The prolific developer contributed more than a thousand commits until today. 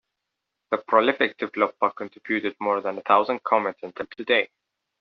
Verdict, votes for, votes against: rejected, 0, 2